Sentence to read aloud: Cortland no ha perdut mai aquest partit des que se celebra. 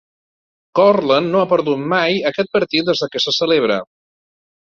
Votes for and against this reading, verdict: 1, 2, rejected